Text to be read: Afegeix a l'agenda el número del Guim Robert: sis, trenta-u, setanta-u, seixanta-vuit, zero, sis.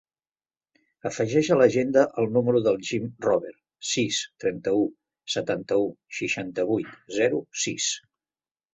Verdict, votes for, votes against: rejected, 1, 2